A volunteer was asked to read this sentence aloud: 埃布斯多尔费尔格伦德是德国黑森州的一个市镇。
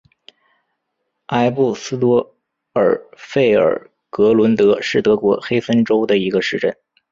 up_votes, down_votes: 3, 1